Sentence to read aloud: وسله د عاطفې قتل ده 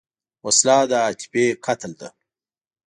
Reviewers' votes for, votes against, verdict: 1, 2, rejected